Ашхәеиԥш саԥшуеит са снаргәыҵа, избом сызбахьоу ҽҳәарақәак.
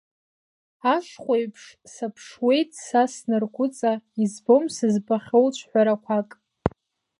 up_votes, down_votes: 2, 1